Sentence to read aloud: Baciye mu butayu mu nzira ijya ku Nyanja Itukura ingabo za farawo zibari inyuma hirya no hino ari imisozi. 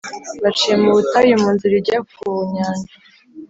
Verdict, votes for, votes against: rejected, 1, 2